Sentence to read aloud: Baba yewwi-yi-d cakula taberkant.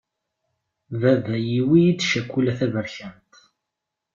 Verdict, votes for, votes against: accepted, 2, 0